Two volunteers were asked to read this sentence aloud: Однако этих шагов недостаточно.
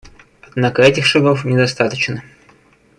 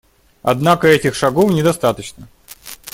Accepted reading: second